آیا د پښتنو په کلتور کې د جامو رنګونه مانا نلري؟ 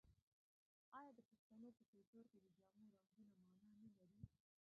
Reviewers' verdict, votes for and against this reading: rejected, 1, 2